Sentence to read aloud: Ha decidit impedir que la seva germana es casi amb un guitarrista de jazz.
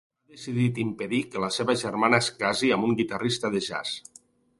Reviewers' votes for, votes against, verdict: 1, 2, rejected